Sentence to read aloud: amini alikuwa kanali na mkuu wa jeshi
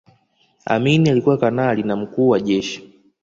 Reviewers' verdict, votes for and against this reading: accepted, 2, 0